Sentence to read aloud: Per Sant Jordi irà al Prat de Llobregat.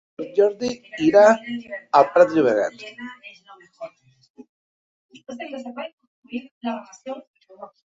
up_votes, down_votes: 1, 2